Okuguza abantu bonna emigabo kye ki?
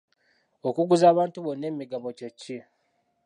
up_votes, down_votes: 2, 0